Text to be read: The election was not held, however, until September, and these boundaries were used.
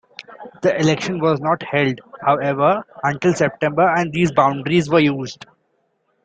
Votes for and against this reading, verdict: 2, 0, accepted